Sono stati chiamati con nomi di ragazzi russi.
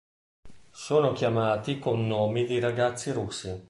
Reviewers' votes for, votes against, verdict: 1, 2, rejected